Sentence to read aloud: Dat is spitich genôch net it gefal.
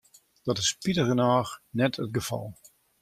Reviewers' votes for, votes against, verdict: 2, 0, accepted